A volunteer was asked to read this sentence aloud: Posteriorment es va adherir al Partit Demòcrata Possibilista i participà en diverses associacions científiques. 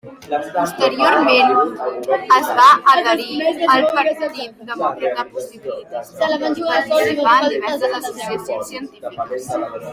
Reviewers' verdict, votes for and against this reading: rejected, 1, 2